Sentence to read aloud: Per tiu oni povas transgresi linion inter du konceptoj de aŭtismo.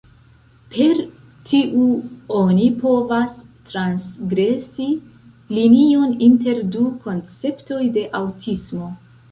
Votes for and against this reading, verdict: 0, 2, rejected